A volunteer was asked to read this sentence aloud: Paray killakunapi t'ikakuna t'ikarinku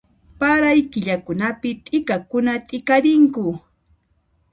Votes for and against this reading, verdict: 2, 0, accepted